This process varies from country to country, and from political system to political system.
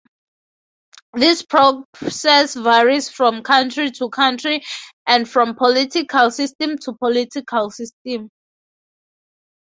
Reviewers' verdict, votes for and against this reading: rejected, 0, 2